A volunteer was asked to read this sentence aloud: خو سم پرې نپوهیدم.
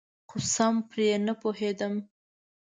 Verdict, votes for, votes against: accepted, 2, 0